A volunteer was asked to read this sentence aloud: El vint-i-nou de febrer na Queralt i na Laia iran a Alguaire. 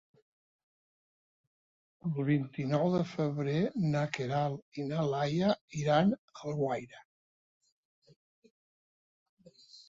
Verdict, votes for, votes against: accepted, 3, 0